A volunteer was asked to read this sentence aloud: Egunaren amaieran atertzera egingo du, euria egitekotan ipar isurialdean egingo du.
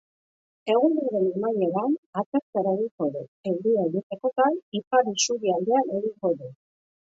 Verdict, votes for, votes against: rejected, 1, 2